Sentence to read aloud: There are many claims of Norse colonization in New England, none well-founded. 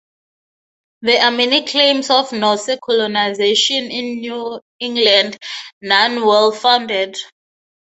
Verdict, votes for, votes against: accepted, 6, 0